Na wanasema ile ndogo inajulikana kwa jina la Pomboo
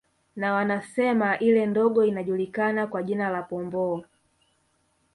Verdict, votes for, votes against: accepted, 2, 0